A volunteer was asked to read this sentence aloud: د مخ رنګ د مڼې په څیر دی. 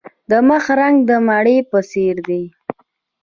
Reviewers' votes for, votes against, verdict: 2, 0, accepted